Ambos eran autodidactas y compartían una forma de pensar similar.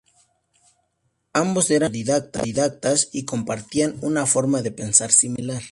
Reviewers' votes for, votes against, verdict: 0, 2, rejected